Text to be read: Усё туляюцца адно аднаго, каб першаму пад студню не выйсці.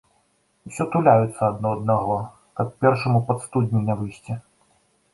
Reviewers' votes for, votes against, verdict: 2, 0, accepted